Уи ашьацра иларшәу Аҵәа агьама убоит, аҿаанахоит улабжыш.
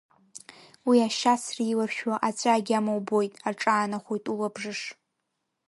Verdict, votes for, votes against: accepted, 2, 0